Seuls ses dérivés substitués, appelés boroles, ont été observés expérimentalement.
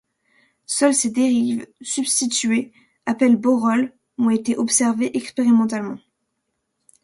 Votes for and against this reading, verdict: 0, 2, rejected